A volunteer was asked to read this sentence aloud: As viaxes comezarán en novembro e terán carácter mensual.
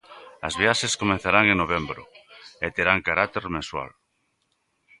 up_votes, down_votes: 1, 2